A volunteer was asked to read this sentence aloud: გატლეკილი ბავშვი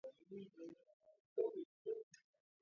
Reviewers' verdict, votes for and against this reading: rejected, 0, 2